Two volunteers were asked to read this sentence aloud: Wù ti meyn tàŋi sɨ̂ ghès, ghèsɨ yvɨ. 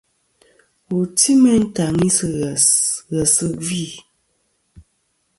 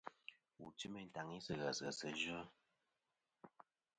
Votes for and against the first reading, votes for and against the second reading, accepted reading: 2, 0, 0, 2, first